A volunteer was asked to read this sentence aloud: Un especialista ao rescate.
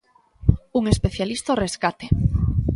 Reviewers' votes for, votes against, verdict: 2, 0, accepted